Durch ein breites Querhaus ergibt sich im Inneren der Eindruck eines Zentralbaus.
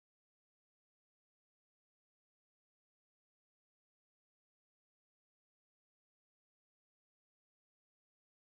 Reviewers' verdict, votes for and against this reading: rejected, 0, 2